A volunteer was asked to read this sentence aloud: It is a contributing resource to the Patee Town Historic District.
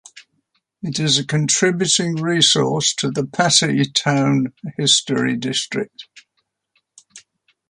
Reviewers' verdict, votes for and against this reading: rejected, 1, 2